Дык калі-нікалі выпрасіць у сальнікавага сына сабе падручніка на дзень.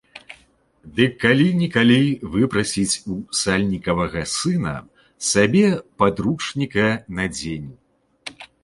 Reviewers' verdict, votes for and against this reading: accepted, 2, 0